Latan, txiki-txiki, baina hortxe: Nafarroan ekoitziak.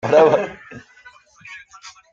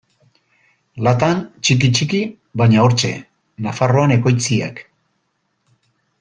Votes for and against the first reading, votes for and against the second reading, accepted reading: 0, 2, 2, 0, second